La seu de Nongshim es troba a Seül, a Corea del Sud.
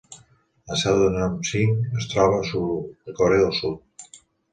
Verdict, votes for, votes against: accepted, 2, 0